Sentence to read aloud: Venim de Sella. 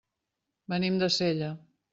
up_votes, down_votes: 3, 0